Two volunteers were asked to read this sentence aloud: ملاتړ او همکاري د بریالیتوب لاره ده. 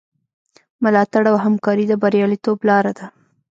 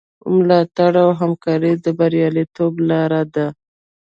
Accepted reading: second